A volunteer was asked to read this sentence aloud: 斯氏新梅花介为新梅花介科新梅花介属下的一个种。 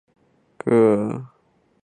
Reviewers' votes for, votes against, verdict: 0, 4, rejected